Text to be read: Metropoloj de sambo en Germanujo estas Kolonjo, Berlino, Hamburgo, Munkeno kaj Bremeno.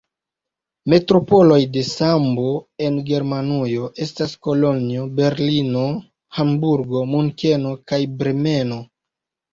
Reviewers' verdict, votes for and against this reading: rejected, 0, 2